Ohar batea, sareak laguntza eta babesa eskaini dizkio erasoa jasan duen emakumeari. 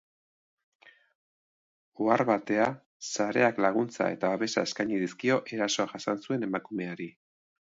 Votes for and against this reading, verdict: 3, 4, rejected